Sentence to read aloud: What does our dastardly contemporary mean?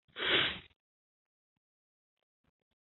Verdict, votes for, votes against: rejected, 0, 2